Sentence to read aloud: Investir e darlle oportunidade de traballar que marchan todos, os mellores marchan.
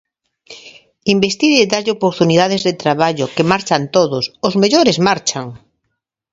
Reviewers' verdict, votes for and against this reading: rejected, 0, 2